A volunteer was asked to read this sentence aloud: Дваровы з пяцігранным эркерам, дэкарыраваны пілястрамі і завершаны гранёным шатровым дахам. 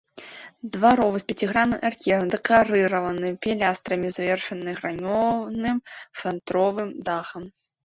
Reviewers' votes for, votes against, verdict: 2, 3, rejected